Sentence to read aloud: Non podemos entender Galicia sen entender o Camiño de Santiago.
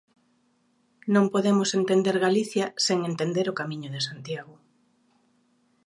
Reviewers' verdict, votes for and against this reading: accepted, 2, 0